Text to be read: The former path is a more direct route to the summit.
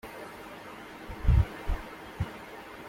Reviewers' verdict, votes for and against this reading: rejected, 0, 2